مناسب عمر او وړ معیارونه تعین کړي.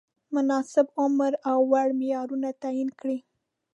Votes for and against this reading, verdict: 2, 0, accepted